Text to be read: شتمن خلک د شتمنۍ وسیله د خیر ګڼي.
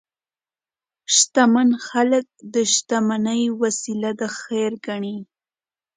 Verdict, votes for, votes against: accepted, 2, 0